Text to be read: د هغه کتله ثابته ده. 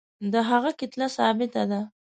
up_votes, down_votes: 2, 0